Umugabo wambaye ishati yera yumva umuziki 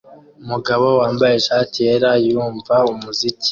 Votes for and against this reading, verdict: 2, 0, accepted